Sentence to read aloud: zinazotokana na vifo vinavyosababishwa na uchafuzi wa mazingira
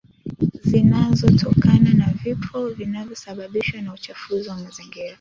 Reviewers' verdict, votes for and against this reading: accepted, 2, 1